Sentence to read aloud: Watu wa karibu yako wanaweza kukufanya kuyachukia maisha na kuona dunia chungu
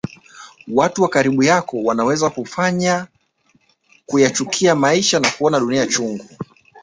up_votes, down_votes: 5, 0